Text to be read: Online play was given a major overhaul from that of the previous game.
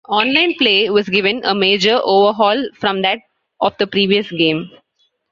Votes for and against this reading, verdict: 3, 1, accepted